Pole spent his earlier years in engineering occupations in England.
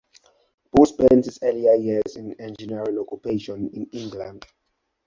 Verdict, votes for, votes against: rejected, 0, 2